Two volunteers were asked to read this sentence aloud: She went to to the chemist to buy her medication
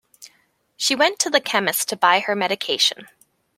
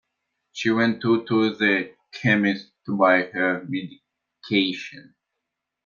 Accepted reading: first